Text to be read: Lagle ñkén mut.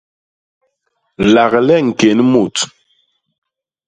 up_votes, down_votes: 2, 0